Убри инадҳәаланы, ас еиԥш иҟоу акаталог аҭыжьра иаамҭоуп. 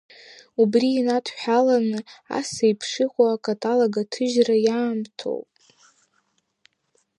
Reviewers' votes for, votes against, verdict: 3, 0, accepted